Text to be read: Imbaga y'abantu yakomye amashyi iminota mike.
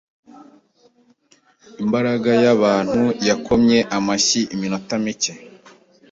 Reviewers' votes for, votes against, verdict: 0, 2, rejected